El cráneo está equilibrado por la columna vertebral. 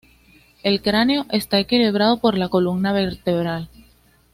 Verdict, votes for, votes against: accepted, 2, 0